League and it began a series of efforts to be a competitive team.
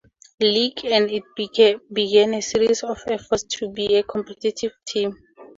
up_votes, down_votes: 0, 2